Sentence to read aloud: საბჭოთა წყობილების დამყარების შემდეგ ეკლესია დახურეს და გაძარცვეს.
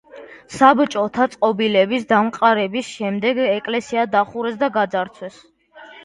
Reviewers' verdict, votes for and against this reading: accepted, 4, 0